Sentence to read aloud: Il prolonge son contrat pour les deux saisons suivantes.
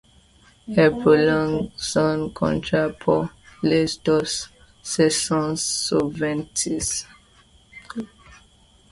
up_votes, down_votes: 2, 0